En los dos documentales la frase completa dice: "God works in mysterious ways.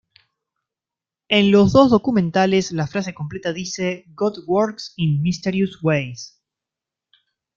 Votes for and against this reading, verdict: 2, 0, accepted